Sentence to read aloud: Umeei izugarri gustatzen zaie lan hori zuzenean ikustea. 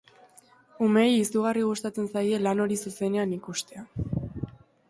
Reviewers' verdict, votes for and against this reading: accepted, 2, 0